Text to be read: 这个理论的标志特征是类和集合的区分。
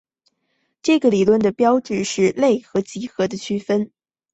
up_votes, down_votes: 1, 2